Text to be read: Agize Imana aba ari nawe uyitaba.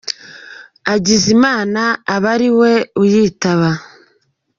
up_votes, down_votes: 0, 2